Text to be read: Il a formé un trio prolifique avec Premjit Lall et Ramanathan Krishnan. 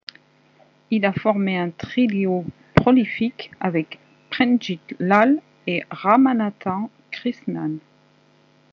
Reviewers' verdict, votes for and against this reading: rejected, 0, 2